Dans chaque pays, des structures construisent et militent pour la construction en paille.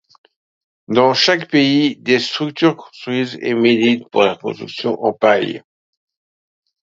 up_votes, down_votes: 1, 2